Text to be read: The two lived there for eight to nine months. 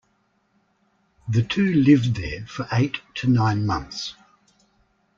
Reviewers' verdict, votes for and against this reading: accepted, 2, 0